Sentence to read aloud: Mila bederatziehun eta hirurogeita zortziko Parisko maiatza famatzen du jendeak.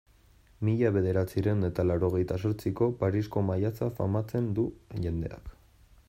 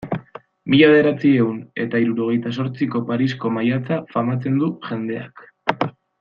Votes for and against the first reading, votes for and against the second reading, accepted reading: 0, 2, 2, 0, second